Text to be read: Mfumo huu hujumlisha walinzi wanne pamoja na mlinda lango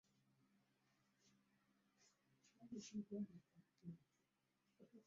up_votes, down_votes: 0, 2